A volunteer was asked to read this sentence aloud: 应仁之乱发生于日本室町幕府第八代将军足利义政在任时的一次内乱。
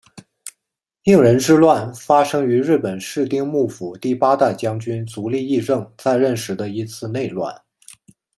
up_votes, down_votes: 0, 2